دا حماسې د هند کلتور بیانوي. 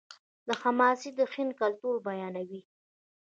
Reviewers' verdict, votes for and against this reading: rejected, 1, 2